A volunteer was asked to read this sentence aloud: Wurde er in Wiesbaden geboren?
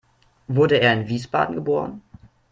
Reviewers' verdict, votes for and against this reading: accepted, 2, 0